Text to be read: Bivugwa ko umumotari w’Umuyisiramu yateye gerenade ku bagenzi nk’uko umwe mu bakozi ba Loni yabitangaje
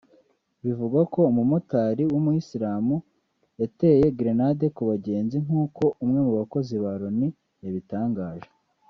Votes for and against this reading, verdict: 1, 2, rejected